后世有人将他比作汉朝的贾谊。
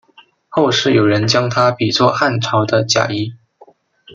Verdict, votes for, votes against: accepted, 2, 0